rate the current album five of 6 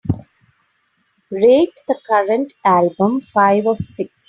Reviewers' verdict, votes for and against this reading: rejected, 0, 2